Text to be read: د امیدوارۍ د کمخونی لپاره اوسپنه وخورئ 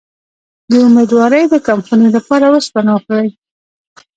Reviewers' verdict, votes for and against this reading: rejected, 1, 2